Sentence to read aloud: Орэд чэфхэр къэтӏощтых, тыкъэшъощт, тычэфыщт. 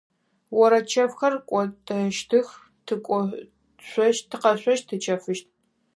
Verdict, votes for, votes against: rejected, 0, 4